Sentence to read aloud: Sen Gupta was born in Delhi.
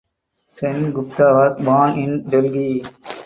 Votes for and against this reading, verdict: 4, 0, accepted